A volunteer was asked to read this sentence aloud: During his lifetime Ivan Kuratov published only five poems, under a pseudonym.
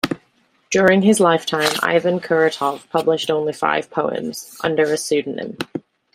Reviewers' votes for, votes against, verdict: 1, 2, rejected